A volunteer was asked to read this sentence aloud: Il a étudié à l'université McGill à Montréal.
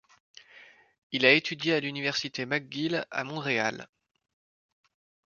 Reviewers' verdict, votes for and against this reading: accepted, 2, 0